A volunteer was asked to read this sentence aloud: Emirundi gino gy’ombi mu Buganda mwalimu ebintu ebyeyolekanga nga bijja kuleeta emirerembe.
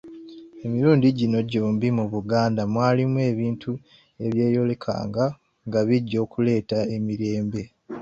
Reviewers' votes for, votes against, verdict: 2, 1, accepted